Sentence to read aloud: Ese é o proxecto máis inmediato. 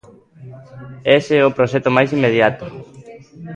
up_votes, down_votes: 1, 2